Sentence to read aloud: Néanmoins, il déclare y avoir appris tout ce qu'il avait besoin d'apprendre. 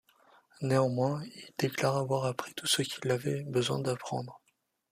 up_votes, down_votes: 2, 1